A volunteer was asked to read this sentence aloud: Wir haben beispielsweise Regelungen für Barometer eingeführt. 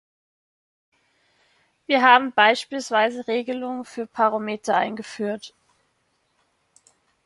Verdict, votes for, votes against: rejected, 1, 2